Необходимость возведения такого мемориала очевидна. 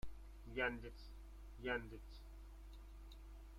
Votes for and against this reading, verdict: 0, 2, rejected